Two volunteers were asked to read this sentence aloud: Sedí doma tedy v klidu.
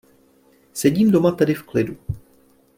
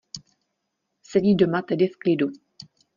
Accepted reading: second